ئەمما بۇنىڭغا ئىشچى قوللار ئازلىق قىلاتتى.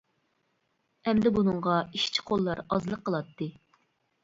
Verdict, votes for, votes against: rejected, 1, 2